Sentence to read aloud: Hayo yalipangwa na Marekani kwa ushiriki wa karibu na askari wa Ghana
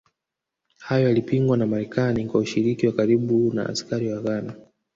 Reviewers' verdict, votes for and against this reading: rejected, 1, 2